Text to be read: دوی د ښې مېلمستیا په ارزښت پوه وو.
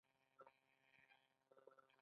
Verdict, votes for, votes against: rejected, 1, 2